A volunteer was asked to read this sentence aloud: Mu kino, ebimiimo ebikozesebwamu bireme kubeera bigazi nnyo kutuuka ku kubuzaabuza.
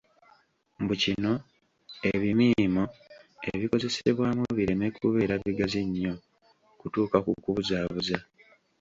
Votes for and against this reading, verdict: 0, 2, rejected